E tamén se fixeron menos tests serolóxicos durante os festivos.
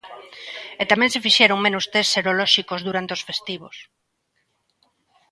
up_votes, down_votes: 2, 0